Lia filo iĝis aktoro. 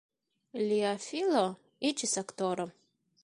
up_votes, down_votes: 2, 0